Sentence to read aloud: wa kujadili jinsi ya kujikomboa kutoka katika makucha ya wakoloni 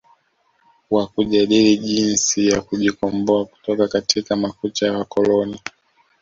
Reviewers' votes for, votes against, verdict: 1, 2, rejected